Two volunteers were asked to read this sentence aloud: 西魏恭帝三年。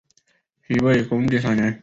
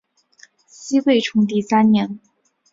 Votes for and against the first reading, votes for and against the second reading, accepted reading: 2, 0, 2, 3, first